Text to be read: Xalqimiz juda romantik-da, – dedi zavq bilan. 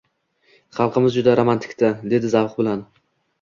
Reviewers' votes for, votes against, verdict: 2, 1, accepted